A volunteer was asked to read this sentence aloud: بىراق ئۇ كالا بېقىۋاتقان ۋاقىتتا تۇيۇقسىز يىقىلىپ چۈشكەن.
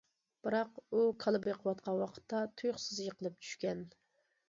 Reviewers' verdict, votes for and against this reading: accepted, 2, 0